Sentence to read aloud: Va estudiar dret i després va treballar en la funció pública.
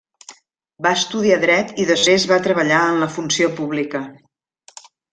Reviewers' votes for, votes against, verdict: 0, 2, rejected